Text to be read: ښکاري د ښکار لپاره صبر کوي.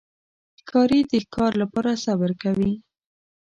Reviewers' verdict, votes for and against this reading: accepted, 2, 0